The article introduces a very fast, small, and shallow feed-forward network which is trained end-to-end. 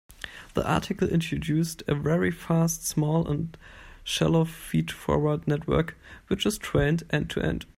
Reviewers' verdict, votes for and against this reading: rejected, 0, 2